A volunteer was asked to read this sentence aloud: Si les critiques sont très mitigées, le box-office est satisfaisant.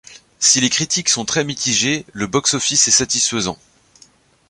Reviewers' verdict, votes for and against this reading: accepted, 2, 0